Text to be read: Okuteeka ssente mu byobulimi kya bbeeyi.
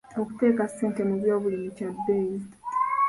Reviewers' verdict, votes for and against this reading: rejected, 1, 2